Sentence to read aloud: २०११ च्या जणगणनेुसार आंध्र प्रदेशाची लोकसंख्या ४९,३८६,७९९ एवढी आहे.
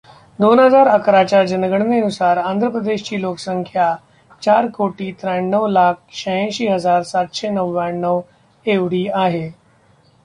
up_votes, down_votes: 0, 2